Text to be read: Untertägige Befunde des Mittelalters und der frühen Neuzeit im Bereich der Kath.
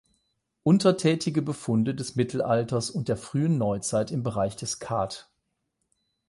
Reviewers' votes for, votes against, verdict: 0, 8, rejected